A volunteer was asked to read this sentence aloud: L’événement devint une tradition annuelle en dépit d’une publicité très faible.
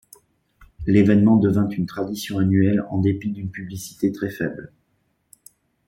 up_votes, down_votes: 2, 0